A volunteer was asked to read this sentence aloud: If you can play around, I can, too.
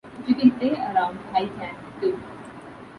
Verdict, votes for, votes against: rejected, 1, 2